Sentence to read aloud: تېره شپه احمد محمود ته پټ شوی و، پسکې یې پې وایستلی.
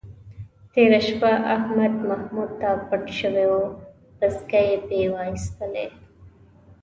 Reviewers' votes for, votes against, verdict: 2, 0, accepted